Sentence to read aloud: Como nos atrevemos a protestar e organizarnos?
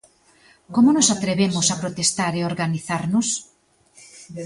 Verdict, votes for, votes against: accepted, 2, 0